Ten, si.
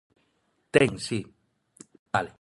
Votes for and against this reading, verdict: 0, 2, rejected